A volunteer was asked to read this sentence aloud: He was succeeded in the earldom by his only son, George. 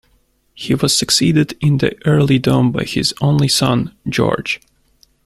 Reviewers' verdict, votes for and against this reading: rejected, 1, 2